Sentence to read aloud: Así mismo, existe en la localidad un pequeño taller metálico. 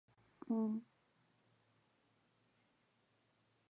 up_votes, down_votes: 0, 2